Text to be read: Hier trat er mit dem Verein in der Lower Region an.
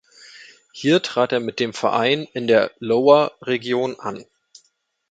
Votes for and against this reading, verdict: 2, 1, accepted